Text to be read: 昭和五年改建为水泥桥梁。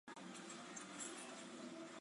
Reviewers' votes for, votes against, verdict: 0, 2, rejected